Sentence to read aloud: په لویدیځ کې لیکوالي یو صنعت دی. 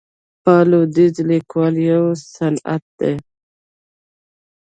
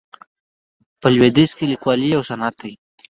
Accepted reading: second